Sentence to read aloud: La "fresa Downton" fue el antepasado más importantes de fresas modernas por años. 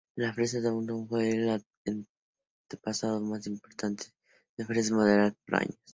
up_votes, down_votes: 0, 4